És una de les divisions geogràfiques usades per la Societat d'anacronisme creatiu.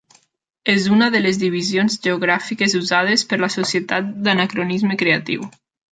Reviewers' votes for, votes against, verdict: 3, 0, accepted